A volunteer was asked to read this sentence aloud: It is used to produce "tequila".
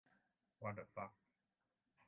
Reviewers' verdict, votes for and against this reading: rejected, 0, 2